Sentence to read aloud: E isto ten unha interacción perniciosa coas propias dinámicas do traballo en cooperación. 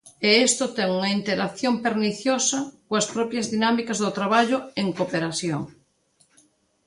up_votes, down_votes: 0, 2